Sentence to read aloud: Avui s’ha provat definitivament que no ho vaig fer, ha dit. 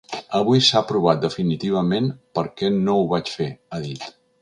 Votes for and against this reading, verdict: 1, 2, rejected